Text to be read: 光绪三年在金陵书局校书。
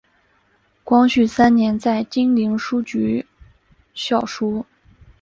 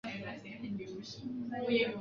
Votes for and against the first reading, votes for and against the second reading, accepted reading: 2, 0, 2, 4, first